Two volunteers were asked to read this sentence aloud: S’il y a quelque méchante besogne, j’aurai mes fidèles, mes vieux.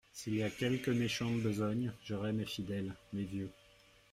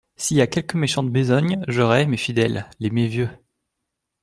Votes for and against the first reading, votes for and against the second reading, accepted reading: 2, 0, 1, 2, first